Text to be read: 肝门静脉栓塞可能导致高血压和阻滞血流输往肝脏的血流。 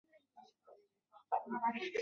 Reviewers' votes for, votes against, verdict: 0, 2, rejected